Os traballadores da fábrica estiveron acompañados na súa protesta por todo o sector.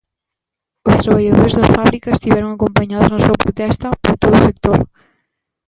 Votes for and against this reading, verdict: 0, 2, rejected